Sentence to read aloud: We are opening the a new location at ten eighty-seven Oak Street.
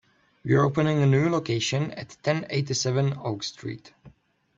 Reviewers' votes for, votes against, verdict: 0, 2, rejected